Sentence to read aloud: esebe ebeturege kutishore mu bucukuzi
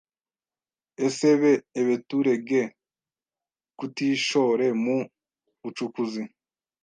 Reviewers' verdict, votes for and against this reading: rejected, 1, 2